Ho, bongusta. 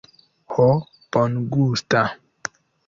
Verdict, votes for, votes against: accepted, 3, 0